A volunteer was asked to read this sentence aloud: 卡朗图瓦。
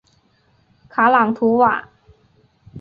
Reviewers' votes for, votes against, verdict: 2, 0, accepted